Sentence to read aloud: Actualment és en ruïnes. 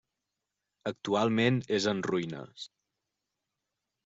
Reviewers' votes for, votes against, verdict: 3, 0, accepted